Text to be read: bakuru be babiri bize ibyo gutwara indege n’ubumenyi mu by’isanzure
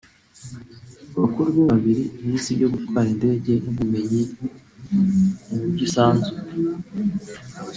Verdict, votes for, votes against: rejected, 0, 2